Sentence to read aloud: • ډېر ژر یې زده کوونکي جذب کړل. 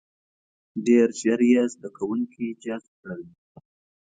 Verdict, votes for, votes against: accepted, 2, 0